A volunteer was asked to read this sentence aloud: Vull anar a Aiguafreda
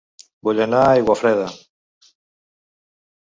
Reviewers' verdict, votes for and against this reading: accepted, 4, 0